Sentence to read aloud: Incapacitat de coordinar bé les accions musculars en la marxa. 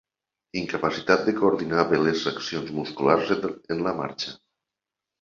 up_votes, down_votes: 0, 2